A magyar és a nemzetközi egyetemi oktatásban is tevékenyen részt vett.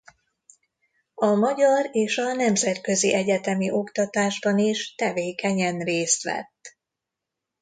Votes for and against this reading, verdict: 2, 0, accepted